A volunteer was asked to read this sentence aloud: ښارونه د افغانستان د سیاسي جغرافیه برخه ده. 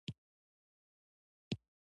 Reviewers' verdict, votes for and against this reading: accepted, 2, 0